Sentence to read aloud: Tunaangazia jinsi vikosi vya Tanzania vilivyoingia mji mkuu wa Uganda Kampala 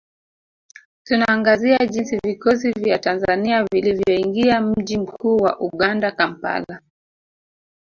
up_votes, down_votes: 1, 2